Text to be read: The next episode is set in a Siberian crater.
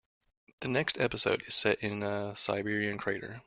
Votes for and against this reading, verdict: 2, 0, accepted